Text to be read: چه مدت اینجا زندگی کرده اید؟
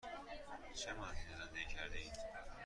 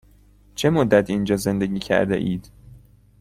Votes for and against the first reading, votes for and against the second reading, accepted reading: 1, 2, 2, 0, second